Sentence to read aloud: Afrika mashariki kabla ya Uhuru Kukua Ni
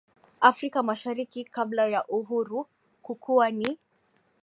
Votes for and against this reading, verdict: 0, 2, rejected